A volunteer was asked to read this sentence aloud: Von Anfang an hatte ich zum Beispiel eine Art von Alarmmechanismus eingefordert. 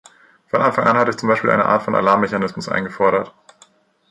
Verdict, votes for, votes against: accepted, 3, 0